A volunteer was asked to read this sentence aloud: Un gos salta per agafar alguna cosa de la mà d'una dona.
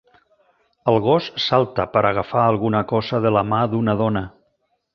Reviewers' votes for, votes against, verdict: 1, 2, rejected